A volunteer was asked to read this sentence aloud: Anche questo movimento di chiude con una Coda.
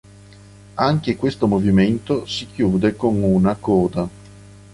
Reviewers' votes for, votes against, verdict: 2, 0, accepted